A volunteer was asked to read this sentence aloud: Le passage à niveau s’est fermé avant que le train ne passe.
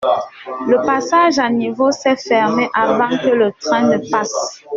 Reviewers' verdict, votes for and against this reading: accepted, 2, 0